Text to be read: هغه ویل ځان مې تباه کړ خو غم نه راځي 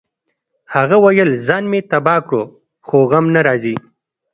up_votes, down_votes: 2, 0